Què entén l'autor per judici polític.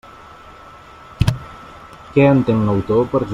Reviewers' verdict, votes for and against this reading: rejected, 0, 2